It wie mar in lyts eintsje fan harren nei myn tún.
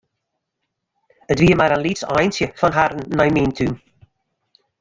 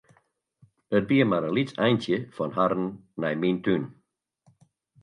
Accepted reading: second